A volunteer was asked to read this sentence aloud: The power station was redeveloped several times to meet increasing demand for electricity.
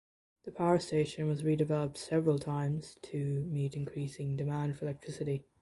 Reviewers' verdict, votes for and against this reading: accepted, 2, 0